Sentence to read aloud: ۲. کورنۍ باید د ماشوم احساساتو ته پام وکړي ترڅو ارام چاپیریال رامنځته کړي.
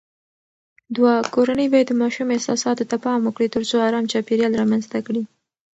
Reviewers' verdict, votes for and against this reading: rejected, 0, 2